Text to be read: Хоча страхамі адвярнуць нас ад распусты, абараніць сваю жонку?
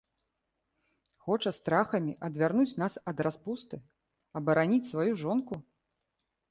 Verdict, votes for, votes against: accepted, 2, 0